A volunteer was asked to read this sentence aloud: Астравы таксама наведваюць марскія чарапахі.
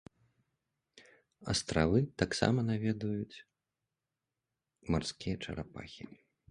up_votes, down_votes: 2, 0